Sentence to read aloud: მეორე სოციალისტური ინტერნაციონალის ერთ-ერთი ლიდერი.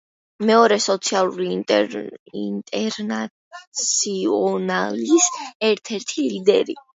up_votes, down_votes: 0, 2